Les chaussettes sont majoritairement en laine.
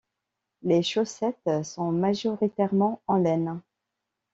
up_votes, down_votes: 2, 0